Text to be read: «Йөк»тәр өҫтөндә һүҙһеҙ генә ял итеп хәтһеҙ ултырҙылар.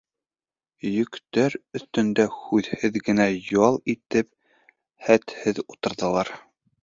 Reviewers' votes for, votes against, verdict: 2, 0, accepted